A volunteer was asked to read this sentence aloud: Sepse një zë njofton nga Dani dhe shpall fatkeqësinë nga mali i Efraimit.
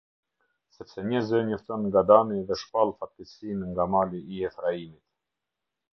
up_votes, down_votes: 2, 0